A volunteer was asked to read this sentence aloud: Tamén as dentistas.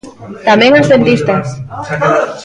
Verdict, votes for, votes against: rejected, 0, 2